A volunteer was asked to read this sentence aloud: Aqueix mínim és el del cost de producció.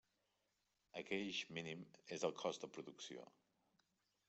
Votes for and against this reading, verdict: 0, 2, rejected